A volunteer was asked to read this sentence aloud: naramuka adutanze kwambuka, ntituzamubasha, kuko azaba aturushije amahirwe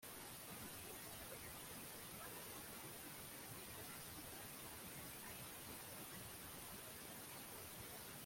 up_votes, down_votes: 1, 2